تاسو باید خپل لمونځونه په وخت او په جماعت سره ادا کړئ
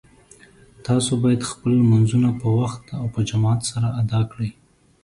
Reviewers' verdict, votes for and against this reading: accepted, 2, 0